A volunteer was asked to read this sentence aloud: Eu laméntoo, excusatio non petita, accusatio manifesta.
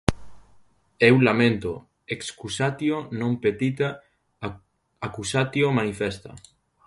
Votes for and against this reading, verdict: 0, 2, rejected